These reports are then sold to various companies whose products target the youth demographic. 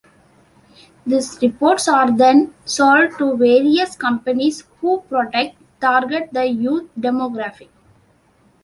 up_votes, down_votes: 0, 2